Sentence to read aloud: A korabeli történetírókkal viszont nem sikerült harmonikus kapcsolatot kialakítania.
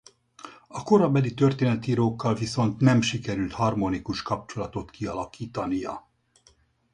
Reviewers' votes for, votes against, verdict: 4, 0, accepted